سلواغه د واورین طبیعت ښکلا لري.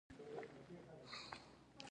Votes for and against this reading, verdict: 1, 2, rejected